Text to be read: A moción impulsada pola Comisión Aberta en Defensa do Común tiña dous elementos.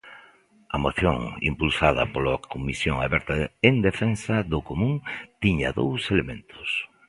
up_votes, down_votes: 1, 2